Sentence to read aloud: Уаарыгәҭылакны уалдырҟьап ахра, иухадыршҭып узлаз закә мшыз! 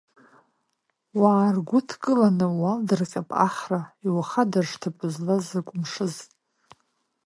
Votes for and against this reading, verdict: 0, 2, rejected